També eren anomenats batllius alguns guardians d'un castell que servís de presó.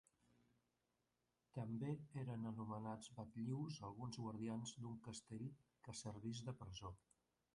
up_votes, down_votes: 2, 0